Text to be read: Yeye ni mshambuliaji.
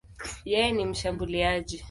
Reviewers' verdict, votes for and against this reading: accepted, 2, 0